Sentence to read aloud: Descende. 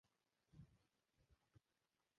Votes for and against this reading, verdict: 1, 2, rejected